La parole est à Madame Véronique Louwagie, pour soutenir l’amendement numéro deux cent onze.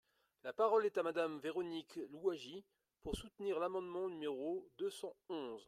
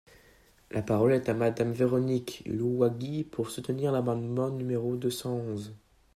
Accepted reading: first